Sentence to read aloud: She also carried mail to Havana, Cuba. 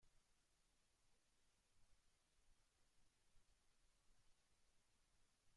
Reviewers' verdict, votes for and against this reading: rejected, 0, 2